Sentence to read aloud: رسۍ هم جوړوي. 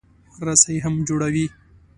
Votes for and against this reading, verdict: 2, 0, accepted